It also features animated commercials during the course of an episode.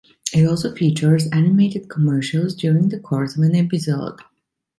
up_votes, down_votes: 2, 0